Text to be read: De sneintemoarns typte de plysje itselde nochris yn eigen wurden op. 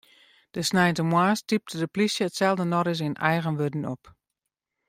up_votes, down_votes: 2, 0